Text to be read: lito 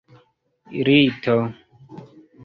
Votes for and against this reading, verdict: 1, 2, rejected